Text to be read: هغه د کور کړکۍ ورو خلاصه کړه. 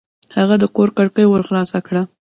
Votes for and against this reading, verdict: 1, 2, rejected